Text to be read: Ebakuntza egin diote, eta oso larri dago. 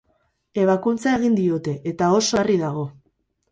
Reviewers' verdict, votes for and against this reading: rejected, 0, 4